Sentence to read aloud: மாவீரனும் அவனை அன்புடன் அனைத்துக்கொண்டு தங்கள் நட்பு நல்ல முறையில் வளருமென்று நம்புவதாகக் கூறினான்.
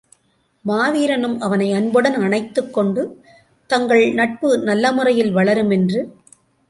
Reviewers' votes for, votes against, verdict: 0, 2, rejected